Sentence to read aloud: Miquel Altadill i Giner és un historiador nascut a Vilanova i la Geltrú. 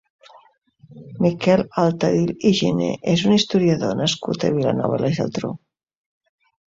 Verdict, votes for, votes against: accepted, 2, 0